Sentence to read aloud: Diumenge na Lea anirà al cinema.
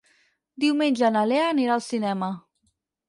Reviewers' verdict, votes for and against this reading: accepted, 6, 0